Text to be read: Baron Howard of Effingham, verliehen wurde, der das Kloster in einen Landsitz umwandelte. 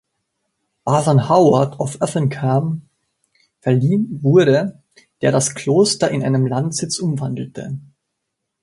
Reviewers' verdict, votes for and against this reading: rejected, 0, 2